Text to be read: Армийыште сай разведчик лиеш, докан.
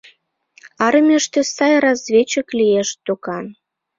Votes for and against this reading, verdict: 2, 0, accepted